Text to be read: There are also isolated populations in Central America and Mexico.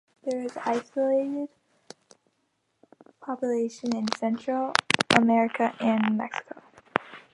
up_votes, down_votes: 1, 2